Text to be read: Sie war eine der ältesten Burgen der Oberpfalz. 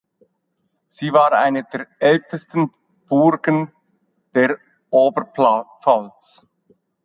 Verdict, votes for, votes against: rejected, 0, 2